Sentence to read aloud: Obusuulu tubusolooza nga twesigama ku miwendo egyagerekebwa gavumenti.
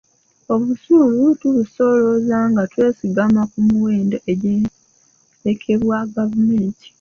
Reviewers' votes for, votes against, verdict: 0, 2, rejected